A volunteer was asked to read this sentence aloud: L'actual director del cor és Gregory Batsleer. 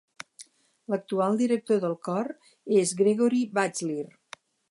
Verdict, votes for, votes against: accepted, 4, 0